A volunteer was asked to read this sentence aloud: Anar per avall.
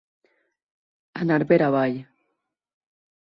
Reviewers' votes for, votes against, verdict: 4, 0, accepted